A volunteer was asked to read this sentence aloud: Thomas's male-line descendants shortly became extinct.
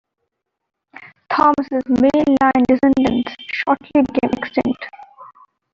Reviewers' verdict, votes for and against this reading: rejected, 1, 2